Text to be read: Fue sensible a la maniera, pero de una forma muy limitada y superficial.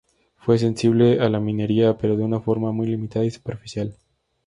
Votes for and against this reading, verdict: 0, 4, rejected